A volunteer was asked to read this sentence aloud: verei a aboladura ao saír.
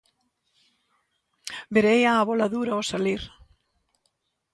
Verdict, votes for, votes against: rejected, 0, 2